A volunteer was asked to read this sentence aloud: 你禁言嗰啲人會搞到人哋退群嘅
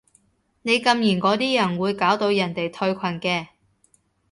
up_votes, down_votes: 2, 0